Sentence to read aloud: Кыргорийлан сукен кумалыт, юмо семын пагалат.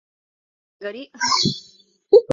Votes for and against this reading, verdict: 0, 2, rejected